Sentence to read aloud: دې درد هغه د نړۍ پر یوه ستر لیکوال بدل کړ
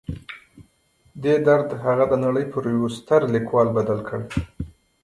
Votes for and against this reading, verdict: 2, 1, accepted